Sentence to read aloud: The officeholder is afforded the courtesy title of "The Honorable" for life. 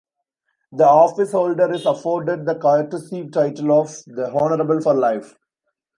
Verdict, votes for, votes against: rejected, 0, 2